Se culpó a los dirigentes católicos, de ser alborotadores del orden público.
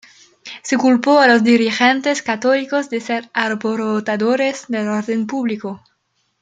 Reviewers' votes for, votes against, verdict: 1, 2, rejected